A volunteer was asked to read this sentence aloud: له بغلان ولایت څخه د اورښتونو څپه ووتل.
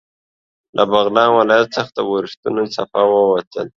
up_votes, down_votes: 2, 0